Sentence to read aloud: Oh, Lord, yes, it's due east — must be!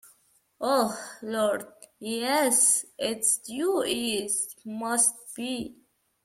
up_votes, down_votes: 2, 0